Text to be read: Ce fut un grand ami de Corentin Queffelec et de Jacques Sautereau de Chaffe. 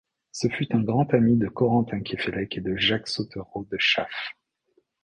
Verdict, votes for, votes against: accepted, 2, 0